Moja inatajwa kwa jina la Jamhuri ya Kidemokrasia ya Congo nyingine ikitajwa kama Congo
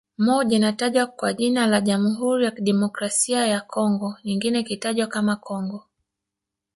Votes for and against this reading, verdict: 0, 2, rejected